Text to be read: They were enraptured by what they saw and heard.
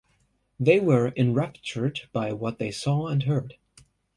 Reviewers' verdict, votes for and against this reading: accepted, 2, 0